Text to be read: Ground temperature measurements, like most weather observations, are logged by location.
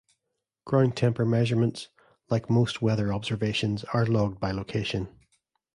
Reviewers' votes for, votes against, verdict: 1, 2, rejected